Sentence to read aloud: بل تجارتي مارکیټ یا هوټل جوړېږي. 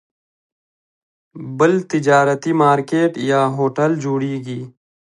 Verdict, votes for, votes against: rejected, 0, 2